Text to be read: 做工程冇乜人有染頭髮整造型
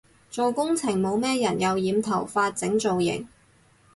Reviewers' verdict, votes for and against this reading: rejected, 2, 2